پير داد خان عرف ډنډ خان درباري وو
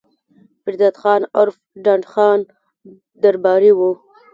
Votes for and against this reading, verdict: 2, 0, accepted